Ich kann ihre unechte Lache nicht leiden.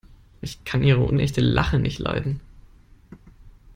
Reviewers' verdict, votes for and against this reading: accepted, 2, 0